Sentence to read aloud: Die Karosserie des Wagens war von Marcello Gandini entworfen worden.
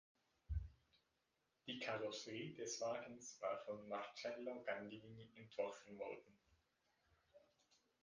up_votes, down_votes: 0, 2